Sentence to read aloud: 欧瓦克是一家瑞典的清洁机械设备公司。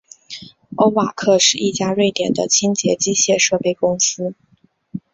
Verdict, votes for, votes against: accepted, 2, 0